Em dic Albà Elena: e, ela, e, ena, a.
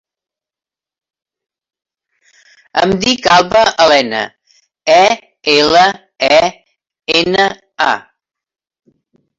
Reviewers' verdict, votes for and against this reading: rejected, 0, 2